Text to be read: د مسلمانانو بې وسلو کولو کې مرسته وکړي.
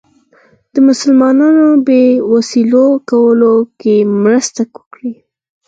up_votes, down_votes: 0, 4